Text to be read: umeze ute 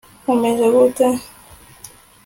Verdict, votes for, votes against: accepted, 2, 1